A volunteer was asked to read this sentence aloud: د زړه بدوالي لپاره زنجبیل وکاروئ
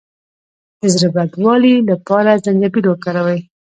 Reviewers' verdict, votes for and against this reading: accepted, 2, 0